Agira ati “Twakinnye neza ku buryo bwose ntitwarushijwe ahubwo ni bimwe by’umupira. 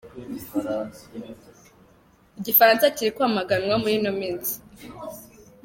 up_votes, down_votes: 0, 3